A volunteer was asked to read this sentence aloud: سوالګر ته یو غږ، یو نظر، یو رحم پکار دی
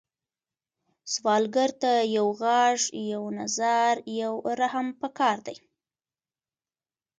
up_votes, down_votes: 3, 1